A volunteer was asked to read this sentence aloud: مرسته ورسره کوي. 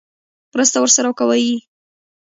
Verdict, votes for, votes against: rejected, 1, 2